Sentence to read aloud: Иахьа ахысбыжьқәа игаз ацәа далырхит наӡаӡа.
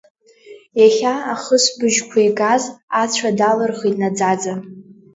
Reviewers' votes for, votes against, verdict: 2, 0, accepted